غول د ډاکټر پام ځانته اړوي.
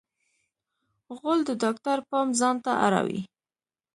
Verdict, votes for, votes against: rejected, 0, 2